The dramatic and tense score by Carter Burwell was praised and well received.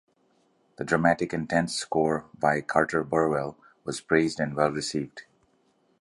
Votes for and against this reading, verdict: 2, 0, accepted